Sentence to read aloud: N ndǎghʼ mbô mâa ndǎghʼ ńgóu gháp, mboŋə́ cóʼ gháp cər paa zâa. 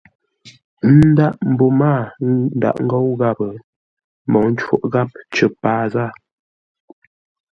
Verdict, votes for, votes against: accepted, 2, 0